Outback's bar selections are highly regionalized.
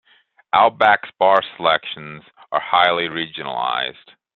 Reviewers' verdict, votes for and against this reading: accepted, 2, 0